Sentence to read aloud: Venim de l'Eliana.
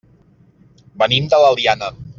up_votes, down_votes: 2, 0